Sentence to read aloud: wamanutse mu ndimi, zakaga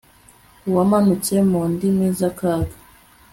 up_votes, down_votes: 2, 0